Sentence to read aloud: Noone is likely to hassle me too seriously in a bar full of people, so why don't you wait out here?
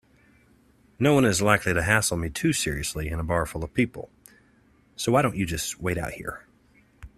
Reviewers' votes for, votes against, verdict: 0, 2, rejected